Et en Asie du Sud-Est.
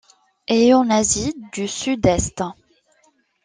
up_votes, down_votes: 2, 0